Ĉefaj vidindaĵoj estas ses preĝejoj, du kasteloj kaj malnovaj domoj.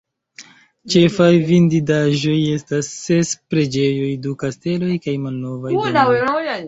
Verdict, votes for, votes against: rejected, 1, 2